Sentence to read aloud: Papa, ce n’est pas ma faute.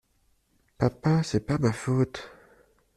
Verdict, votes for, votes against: rejected, 0, 2